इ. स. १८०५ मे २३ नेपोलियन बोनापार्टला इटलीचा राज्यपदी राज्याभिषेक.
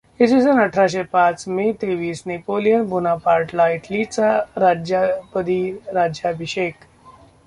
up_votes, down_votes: 0, 2